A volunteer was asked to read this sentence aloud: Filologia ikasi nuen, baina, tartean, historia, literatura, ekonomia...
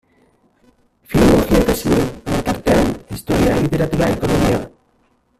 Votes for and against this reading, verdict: 0, 2, rejected